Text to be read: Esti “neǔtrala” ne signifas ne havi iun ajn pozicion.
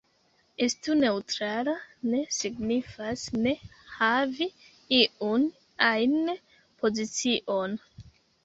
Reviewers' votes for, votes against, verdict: 1, 2, rejected